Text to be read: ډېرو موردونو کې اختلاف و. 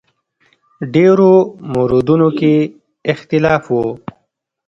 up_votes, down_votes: 0, 2